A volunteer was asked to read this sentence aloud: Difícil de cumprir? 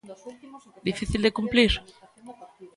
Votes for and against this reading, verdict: 0, 2, rejected